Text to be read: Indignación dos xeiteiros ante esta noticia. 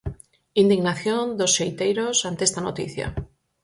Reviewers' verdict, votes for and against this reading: accepted, 4, 0